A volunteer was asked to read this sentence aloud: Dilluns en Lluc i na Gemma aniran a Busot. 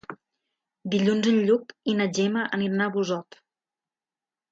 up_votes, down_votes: 3, 2